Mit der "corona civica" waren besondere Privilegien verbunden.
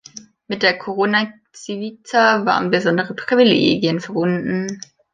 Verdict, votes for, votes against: rejected, 1, 2